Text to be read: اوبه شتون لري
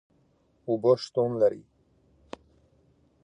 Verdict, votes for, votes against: accepted, 2, 1